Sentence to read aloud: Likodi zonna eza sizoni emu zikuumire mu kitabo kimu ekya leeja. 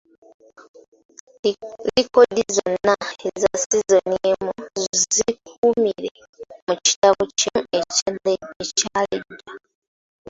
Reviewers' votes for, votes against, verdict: 0, 2, rejected